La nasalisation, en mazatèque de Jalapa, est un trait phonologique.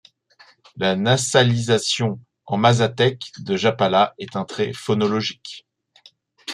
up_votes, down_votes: 1, 2